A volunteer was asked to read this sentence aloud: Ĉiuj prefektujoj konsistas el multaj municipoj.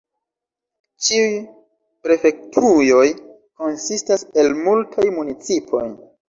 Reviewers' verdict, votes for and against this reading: accepted, 2, 0